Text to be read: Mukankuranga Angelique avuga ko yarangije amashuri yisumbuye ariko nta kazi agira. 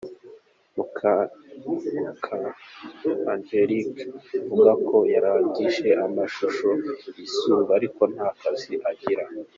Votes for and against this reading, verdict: 1, 2, rejected